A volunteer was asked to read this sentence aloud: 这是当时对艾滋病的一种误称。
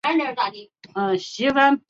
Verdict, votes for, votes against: rejected, 0, 2